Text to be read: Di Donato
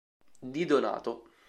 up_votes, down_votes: 2, 0